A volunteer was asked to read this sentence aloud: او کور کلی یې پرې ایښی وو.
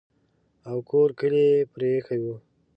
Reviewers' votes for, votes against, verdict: 3, 0, accepted